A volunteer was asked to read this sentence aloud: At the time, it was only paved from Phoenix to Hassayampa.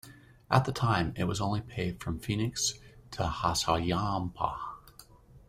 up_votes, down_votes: 1, 2